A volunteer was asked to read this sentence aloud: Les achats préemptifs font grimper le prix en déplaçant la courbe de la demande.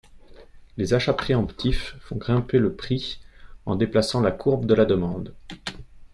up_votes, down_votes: 2, 0